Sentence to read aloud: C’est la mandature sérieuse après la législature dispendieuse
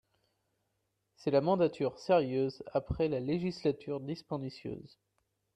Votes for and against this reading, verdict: 2, 0, accepted